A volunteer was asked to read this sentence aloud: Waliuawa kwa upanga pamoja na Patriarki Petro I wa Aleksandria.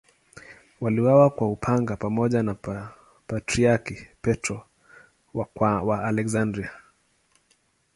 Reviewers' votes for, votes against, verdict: 2, 3, rejected